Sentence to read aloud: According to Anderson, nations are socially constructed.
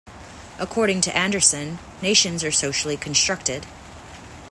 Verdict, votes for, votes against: accepted, 2, 0